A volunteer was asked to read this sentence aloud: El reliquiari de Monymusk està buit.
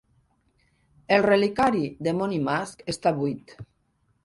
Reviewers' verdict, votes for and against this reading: accepted, 2, 1